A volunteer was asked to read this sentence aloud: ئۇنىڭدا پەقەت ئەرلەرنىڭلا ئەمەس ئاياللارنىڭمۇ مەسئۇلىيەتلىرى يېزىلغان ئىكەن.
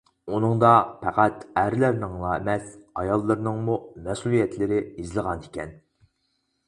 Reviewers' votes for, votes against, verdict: 2, 2, rejected